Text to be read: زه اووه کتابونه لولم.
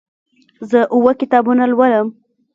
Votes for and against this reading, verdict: 0, 2, rejected